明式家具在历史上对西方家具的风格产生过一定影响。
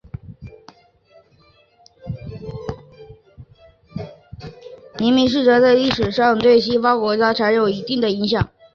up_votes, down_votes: 0, 2